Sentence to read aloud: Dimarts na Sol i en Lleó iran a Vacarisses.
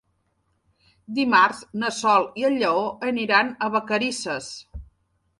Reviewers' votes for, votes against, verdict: 0, 3, rejected